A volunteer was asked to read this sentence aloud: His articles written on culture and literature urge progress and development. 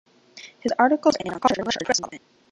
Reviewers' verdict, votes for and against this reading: rejected, 0, 2